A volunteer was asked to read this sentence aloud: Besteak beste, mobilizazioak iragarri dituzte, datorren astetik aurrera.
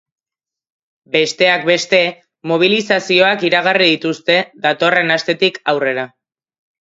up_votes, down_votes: 3, 0